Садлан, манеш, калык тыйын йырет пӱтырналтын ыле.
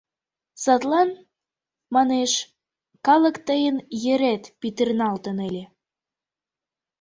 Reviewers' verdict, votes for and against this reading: accepted, 3, 2